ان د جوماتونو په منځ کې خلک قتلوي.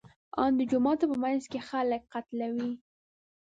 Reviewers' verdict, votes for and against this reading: rejected, 0, 2